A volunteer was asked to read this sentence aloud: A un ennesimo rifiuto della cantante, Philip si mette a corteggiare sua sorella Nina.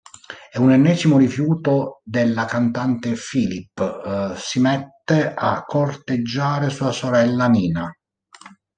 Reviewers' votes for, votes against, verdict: 0, 2, rejected